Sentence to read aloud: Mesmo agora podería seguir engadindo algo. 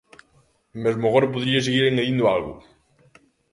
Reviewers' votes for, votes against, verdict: 2, 0, accepted